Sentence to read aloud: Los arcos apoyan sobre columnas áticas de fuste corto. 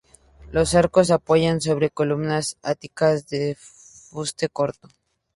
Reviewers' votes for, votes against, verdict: 2, 0, accepted